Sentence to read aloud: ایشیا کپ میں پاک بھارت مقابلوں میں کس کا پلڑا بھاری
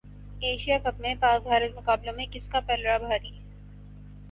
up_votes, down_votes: 14, 0